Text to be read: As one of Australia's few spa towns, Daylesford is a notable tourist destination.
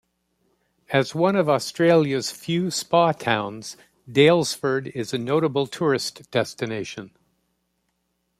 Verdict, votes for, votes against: accepted, 2, 0